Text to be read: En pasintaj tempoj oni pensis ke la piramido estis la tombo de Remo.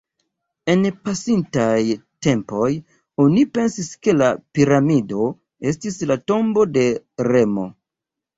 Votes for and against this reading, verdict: 1, 2, rejected